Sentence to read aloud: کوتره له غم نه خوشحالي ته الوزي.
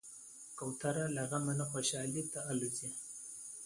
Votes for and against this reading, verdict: 2, 0, accepted